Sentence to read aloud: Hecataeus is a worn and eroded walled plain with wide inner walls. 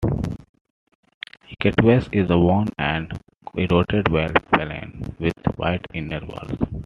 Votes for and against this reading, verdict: 1, 2, rejected